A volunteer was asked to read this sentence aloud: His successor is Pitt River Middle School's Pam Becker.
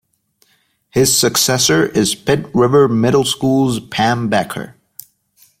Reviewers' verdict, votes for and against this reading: accepted, 2, 0